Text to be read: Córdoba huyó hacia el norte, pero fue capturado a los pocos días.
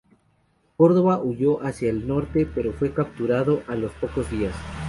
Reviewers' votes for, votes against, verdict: 2, 0, accepted